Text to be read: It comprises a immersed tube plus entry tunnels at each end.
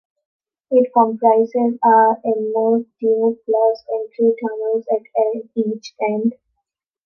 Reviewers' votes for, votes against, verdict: 1, 2, rejected